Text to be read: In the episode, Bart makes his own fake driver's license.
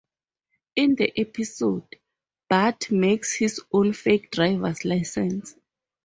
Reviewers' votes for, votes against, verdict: 2, 0, accepted